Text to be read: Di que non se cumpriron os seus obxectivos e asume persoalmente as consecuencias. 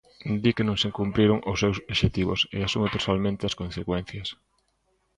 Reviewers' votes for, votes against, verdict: 1, 2, rejected